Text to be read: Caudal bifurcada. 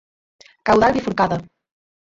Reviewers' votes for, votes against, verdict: 2, 4, rejected